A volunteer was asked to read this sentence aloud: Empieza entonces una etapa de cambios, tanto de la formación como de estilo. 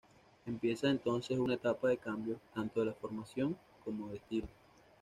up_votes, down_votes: 2, 0